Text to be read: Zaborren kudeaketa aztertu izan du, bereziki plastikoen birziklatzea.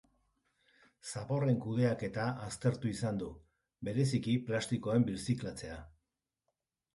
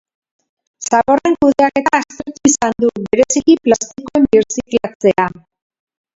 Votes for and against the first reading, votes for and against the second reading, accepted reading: 2, 0, 0, 2, first